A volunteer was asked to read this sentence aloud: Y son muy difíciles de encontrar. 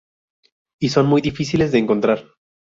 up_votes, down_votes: 2, 0